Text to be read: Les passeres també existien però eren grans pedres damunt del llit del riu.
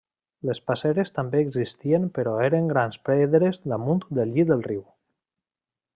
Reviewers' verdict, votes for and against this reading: accepted, 2, 0